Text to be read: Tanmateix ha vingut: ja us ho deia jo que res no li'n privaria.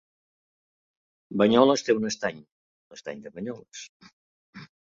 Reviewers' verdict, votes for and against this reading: rejected, 0, 2